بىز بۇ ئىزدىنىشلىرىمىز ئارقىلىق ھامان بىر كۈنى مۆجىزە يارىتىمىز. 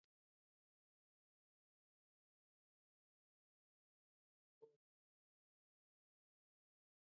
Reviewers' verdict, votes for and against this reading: rejected, 0, 2